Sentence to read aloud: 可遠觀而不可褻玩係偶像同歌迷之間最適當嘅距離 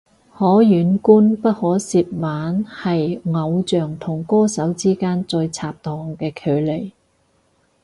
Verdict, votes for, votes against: rejected, 0, 4